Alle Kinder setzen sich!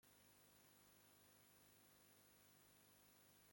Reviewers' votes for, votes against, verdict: 0, 2, rejected